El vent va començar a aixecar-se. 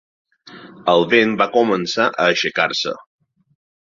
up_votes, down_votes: 2, 0